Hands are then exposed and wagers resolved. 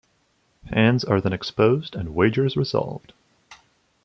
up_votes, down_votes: 2, 0